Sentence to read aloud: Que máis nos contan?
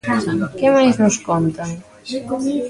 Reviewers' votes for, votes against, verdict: 1, 2, rejected